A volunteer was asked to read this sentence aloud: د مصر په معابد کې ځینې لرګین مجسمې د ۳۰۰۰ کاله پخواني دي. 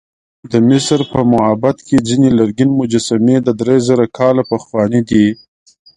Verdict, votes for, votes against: rejected, 0, 2